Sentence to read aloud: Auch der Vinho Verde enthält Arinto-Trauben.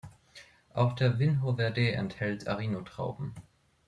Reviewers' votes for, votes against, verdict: 1, 2, rejected